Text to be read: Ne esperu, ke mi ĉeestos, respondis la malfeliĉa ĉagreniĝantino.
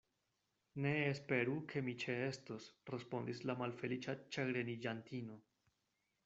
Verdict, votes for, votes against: accepted, 2, 0